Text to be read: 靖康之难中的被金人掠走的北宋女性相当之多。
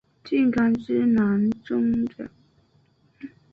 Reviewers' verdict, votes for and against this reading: rejected, 0, 3